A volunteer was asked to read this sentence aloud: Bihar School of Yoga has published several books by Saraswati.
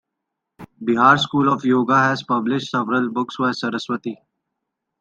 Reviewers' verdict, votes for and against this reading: accepted, 2, 0